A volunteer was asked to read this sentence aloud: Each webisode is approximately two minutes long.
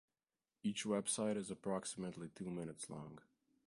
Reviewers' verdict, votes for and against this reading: rejected, 0, 2